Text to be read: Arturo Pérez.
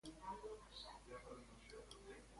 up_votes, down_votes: 0, 2